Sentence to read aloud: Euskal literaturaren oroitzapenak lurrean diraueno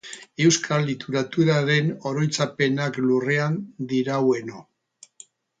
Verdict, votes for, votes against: rejected, 2, 2